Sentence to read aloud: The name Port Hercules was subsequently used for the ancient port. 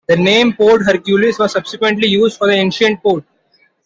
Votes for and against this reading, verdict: 2, 0, accepted